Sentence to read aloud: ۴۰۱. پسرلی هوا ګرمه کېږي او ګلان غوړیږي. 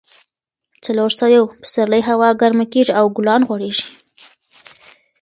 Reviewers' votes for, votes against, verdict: 0, 2, rejected